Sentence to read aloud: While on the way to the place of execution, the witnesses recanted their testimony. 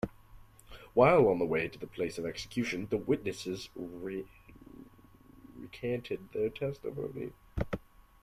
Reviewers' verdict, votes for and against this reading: rejected, 0, 2